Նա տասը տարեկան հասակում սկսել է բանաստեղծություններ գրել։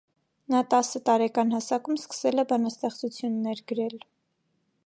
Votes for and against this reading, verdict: 2, 0, accepted